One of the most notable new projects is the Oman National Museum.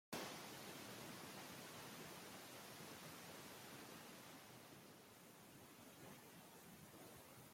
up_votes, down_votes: 0, 2